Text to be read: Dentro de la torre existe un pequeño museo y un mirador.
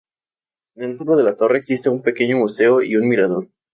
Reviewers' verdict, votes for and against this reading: accepted, 2, 0